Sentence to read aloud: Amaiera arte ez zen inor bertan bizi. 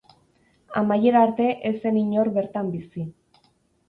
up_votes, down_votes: 2, 0